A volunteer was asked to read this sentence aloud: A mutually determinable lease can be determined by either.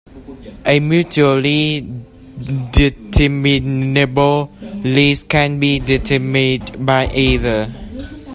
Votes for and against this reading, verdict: 0, 2, rejected